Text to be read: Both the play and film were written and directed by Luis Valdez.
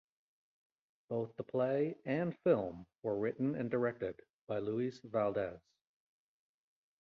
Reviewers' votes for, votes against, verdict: 2, 0, accepted